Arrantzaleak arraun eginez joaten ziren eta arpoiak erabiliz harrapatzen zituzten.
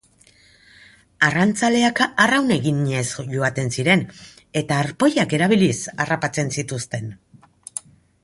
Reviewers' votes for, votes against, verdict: 2, 0, accepted